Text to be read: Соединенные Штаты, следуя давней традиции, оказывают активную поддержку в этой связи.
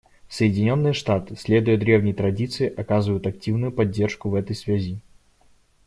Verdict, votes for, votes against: rejected, 0, 2